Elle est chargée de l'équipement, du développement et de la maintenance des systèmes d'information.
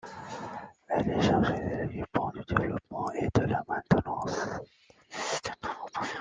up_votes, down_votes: 0, 2